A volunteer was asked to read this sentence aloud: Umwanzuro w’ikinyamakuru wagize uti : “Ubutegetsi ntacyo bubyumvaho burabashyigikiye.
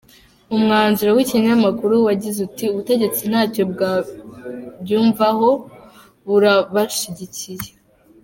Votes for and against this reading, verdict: 0, 2, rejected